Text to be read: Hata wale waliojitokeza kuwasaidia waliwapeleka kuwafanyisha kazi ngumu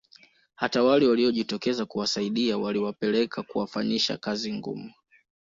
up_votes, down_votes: 2, 0